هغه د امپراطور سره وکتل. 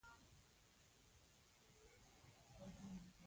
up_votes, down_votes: 0, 2